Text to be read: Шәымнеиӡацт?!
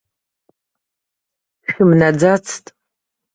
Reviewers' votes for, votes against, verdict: 0, 2, rejected